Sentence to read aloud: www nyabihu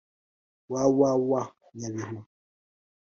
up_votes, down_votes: 2, 1